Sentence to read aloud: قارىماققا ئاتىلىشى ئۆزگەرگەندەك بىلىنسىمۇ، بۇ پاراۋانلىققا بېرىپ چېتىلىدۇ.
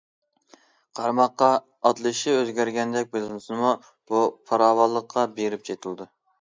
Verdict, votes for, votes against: accepted, 2, 0